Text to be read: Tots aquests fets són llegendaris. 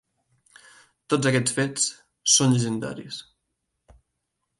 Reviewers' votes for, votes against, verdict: 2, 0, accepted